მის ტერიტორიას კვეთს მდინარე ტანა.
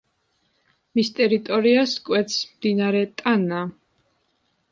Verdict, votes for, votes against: accepted, 2, 0